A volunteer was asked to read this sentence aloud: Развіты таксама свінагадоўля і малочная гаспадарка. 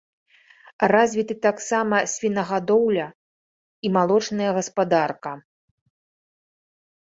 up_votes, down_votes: 3, 0